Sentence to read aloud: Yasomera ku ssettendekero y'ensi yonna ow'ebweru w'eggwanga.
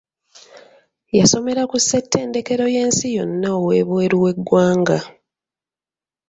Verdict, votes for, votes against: accepted, 2, 1